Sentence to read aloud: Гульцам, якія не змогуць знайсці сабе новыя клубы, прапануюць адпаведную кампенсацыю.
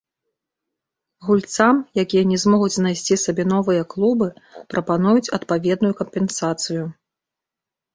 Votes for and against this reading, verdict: 2, 0, accepted